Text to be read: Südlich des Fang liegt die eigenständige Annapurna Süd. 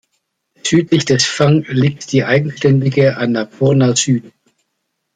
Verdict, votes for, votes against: accepted, 2, 0